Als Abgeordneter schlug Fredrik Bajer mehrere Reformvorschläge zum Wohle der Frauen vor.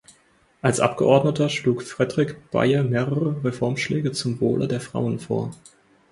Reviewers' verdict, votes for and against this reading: rejected, 0, 4